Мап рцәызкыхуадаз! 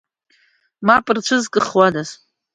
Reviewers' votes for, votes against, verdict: 2, 0, accepted